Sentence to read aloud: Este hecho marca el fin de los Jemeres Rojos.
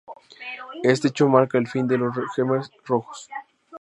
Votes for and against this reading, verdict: 0, 2, rejected